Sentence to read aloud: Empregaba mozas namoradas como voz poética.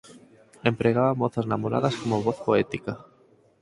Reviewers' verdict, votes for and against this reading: accepted, 4, 0